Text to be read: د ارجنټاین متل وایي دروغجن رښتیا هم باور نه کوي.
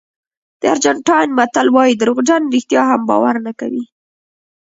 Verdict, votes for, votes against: accepted, 3, 1